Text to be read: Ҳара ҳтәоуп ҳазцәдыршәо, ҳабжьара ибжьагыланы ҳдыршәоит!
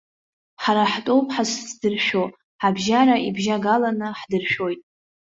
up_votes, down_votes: 1, 2